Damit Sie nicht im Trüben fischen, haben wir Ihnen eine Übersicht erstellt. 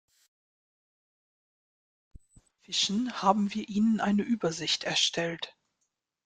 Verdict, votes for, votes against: rejected, 0, 2